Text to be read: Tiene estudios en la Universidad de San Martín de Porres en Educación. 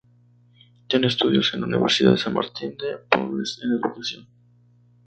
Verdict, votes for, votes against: rejected, 0, 2